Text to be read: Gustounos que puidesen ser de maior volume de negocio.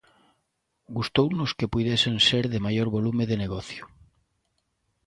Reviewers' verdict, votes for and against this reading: accepted, 2, 0